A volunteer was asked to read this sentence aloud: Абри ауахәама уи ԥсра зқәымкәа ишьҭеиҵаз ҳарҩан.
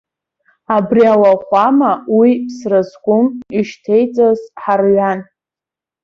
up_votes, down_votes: 1, 2